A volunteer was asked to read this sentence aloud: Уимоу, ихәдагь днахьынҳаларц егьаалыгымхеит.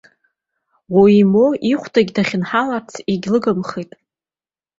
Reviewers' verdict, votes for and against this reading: rejected, 0, 2